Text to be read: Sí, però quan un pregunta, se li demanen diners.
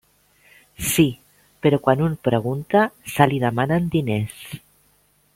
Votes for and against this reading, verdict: 3, 0, accepted